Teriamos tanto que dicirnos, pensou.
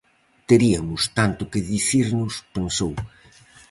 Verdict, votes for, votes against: rejected, 0, 4